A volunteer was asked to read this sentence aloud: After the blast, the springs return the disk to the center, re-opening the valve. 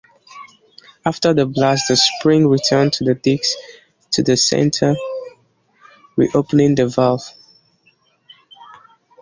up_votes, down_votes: 1, 2